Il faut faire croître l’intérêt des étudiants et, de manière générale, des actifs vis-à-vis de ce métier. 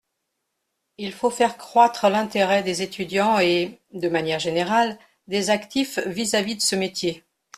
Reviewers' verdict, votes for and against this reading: accepted, 2, 0